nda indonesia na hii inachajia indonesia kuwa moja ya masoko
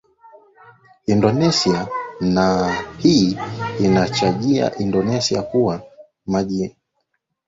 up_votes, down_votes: 0, 2